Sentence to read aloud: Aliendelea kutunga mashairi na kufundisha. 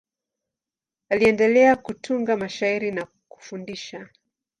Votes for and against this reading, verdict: 2, 0, accepted